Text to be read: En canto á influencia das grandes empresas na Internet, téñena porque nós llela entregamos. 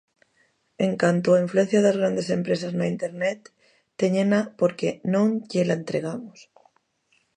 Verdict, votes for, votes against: rejected, 0, 2